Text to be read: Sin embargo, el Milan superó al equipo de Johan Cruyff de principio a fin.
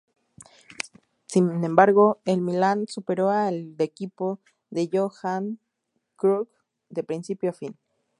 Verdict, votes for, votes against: rejected, 0, 2